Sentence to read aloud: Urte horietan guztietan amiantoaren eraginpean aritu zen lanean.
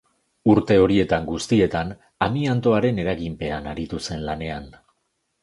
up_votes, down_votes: 2, 0